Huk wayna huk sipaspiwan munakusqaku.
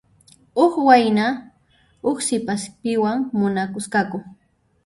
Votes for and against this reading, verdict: 0, 2, rejected